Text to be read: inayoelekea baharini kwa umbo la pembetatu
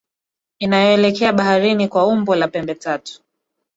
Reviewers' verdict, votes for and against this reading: rejected, 1, 2